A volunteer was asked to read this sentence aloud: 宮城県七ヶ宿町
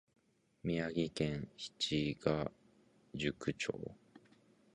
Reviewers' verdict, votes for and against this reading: rejected, 0, 2